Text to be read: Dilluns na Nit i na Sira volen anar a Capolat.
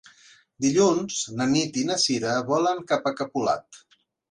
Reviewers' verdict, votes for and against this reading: rejected, 1, 2